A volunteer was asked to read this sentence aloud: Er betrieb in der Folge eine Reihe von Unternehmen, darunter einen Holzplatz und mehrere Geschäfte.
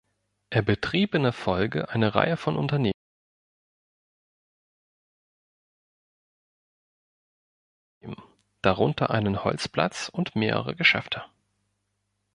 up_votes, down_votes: 0, 2